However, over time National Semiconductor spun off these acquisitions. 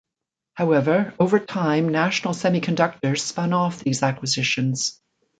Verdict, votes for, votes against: rejected, 1, 2